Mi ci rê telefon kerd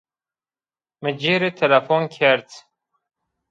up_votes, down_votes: 1, 2